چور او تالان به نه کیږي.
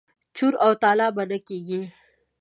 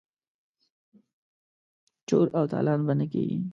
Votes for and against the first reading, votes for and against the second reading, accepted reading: 2, 0, 1, 2, first